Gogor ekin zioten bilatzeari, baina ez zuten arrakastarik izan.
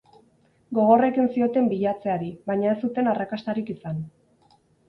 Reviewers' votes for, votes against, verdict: 4, 0, accepted